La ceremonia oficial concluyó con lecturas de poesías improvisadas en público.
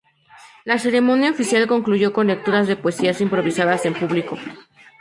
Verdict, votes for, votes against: accepted, 2, 0